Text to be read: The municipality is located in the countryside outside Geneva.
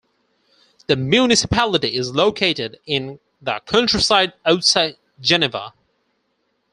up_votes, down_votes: 4, 2